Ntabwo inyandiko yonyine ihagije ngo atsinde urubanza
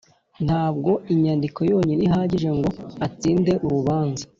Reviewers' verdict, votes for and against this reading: accepted, 2, 0